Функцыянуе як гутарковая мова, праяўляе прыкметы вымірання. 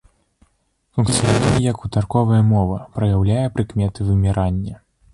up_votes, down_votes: 0, 2